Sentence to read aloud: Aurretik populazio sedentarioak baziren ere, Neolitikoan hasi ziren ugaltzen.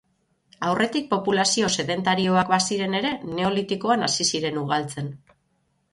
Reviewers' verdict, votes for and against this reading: accepted, 12, 0